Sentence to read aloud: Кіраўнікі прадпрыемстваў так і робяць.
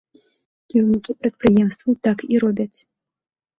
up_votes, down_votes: 1, 2